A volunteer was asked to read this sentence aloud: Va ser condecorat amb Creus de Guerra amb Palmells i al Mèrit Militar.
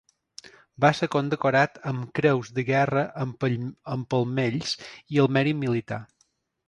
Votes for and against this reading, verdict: 0, 2, rejected